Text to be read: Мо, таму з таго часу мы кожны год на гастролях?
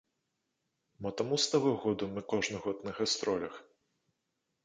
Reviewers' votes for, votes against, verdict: 0, 2, rejected